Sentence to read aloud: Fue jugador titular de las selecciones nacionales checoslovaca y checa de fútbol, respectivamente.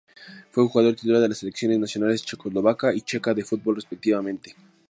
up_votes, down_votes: 2, 0